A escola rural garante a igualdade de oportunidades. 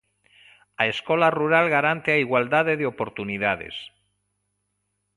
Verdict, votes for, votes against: accepted, 2, 0